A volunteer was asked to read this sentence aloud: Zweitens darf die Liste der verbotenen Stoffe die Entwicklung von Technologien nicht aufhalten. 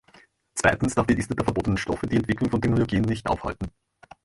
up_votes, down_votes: 1, 2